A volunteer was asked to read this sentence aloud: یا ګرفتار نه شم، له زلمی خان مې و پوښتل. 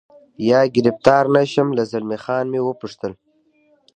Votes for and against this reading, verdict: 1, 2, rejected